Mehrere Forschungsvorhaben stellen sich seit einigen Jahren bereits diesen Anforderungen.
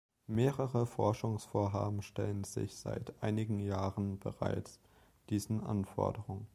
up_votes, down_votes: 2, 0